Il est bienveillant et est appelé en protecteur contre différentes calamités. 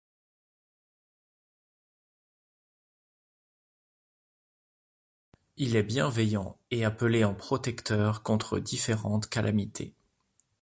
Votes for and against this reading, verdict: 1, 2, rejected